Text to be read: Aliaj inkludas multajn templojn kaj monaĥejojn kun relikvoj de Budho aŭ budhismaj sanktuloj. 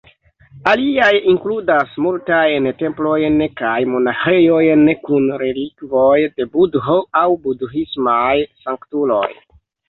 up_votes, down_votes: 3, 0